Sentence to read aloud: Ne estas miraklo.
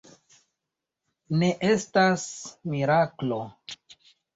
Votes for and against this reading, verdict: 2, 0, accepted